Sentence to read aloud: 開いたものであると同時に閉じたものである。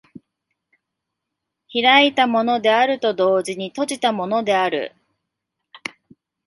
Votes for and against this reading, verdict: 2, 0, accepted